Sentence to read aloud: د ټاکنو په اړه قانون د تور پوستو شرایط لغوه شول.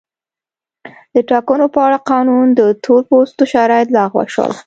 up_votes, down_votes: 2, 0